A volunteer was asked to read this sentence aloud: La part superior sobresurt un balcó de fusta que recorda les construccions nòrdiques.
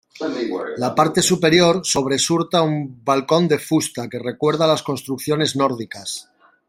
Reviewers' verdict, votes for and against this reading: rejected, 0, 2